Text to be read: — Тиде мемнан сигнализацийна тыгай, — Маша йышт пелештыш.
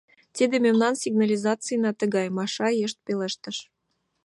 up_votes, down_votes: 2, 0